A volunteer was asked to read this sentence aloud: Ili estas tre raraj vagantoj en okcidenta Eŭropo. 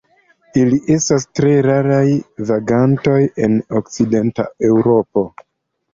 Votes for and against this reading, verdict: 2, 1, accepted